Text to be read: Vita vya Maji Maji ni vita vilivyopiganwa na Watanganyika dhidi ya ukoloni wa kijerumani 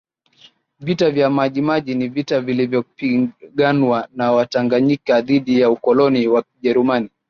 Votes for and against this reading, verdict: 3, 1, accepted